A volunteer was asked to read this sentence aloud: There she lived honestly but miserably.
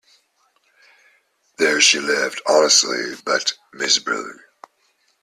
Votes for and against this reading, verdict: 0, 2, rejected